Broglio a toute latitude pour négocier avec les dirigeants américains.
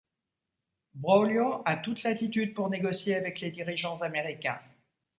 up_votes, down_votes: 2, 0